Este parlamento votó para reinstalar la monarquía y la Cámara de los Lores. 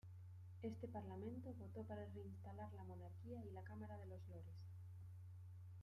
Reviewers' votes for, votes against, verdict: 2, 1, accepted